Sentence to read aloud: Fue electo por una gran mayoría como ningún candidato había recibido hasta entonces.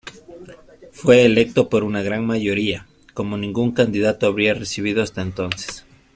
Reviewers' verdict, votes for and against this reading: rejected, 0, 2